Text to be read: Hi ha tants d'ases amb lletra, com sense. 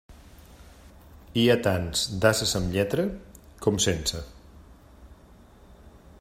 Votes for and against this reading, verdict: 3, 0, accepted